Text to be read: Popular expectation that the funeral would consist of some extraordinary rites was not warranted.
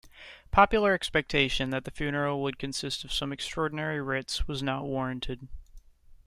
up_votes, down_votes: 1, 2